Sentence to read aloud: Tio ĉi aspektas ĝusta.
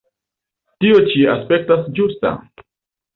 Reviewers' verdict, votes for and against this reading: accepted, 2, 0